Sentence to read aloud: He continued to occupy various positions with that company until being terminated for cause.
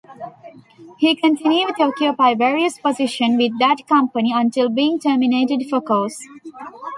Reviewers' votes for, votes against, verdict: 1, 2, rejected